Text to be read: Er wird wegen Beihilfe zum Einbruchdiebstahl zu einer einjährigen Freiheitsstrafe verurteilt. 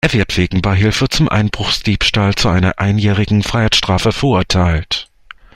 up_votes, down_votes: 1, 2